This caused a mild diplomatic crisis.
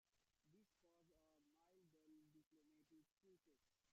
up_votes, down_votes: 0, 2